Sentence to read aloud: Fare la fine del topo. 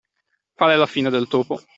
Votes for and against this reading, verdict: 2, 0, accepted